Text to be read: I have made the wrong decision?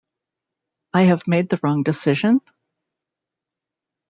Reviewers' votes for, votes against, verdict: 2, 0, accepted